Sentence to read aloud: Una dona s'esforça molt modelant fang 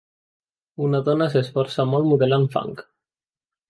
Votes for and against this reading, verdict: 2, 0, accepted